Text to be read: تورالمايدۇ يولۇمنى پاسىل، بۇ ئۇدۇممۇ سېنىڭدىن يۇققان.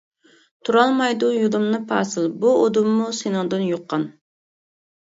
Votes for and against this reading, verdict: 1, 2, rejected